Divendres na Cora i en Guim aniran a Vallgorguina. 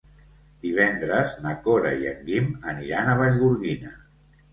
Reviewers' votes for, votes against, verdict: 3, 0, accepted